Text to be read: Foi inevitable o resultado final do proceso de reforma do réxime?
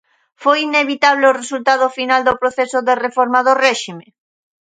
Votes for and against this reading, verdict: 2, 0, accepted